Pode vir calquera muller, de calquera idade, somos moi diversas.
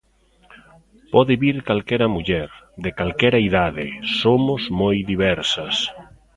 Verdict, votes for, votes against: accepted, 2, 0